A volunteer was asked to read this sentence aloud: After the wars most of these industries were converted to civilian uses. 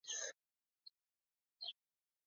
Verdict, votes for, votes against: rejected, 0, 2